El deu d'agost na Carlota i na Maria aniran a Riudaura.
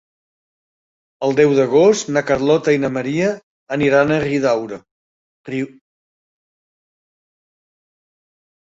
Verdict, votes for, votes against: rejected, 0, 2